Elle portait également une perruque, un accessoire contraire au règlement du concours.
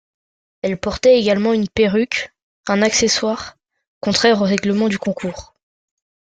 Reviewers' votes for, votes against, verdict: 2, 0, accepted